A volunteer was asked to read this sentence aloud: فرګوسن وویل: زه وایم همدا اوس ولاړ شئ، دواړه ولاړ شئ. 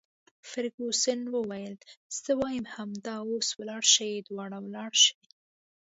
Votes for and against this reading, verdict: 2, 0, accepted